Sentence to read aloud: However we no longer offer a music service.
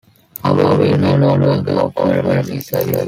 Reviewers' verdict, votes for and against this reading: rejected, 0, 2